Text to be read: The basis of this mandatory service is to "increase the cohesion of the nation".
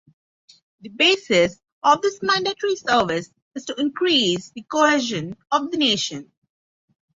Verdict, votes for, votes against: accepted, 6, 0